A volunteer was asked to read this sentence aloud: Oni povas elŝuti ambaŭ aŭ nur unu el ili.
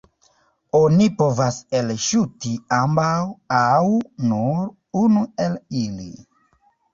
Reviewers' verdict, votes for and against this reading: rejected, 0, 2